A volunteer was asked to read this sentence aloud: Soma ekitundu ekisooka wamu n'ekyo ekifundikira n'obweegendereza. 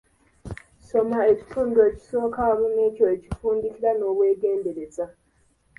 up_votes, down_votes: 2, 1